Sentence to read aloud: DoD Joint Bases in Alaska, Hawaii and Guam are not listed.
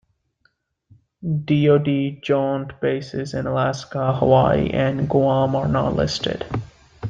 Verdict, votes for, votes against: accepted, 2, 0